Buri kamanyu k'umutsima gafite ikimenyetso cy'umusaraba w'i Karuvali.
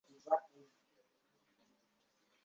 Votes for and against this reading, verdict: 1, 2, rejected